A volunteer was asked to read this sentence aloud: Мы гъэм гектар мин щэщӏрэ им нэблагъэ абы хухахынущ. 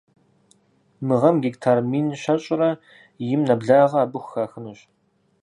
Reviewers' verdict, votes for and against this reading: accepted, 4, 0